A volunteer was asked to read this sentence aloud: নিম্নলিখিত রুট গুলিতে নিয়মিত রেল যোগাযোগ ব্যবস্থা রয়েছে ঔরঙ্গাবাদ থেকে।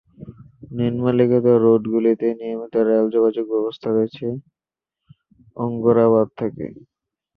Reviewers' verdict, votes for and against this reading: rejected, 0, 8